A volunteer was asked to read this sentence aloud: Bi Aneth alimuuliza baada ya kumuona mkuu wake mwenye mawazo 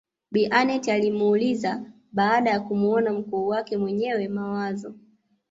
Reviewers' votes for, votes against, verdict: 0, 2, rejected